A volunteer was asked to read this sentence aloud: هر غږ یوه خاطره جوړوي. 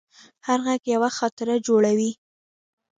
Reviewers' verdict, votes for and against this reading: accepted, 2, 0